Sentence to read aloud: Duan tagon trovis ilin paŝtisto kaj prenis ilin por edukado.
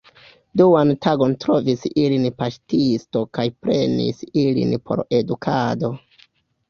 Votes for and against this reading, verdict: 1, 2, rejected